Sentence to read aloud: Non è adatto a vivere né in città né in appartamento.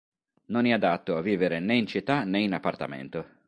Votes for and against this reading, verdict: 2, 0, accepted